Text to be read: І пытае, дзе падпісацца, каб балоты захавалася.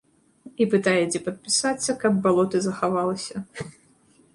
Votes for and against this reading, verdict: 0, 2, rejected